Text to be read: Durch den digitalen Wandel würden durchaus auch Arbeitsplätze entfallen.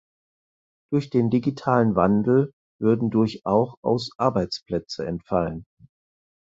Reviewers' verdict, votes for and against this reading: rejected, 0, 4